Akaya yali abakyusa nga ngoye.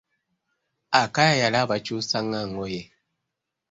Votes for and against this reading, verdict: 2, 0, accepted